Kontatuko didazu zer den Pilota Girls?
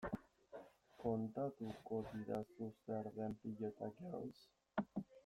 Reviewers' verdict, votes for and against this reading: rejected, 0, 2